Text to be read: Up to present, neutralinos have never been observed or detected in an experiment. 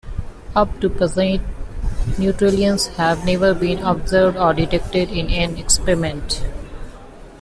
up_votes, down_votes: 2, 1